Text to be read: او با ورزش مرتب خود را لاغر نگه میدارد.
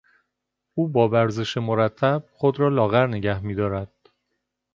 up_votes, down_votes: 2, 0